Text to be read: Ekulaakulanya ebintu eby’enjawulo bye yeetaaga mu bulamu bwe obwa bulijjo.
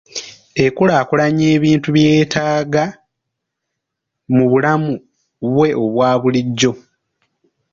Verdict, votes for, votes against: rejected, 0, 2